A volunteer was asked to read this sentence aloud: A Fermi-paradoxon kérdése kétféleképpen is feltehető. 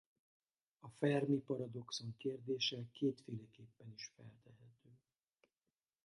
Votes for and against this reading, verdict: 2, 2, rejected